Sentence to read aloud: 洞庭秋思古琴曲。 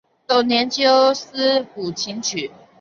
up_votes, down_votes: 2, 0